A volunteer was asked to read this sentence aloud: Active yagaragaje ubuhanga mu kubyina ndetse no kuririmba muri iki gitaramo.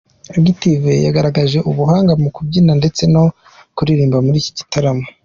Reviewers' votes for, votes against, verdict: 2, 1, accepted